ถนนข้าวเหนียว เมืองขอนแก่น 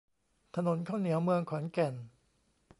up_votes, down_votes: 2, 0